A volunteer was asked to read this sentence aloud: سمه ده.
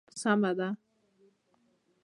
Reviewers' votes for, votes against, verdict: 2, 0, accepted